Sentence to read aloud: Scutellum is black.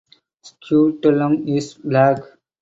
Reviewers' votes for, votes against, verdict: 4, 0, accepted